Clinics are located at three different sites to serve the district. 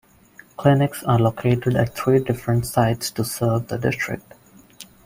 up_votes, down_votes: 1, 2